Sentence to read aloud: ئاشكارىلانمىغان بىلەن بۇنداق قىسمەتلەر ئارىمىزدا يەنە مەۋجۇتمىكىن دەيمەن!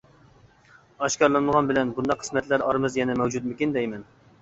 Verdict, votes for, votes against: accepted, 2, 0